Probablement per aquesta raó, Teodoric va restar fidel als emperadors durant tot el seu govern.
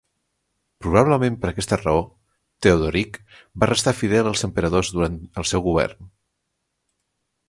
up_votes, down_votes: 0, 2